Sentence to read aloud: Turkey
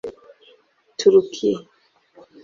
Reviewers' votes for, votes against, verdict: 1, 3, rejected